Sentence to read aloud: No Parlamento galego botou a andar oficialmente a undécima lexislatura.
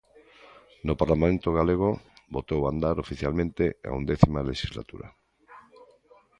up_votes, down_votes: 2, 0